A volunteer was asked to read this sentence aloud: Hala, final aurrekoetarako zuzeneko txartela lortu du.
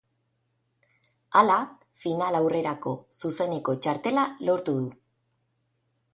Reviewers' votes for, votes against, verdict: 0, 2, rejected